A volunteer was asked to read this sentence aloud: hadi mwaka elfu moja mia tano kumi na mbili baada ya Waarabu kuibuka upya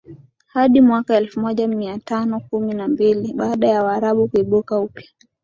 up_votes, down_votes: 2, 0